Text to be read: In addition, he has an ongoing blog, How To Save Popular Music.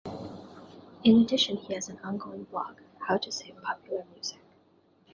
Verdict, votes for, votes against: accepted, 2, 1